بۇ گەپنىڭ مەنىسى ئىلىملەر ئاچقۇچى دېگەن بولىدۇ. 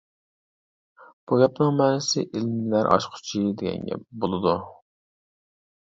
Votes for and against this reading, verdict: 0, 2, rejected